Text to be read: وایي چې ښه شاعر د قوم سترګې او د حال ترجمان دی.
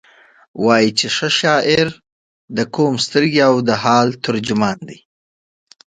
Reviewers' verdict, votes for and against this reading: accepted, 2, 0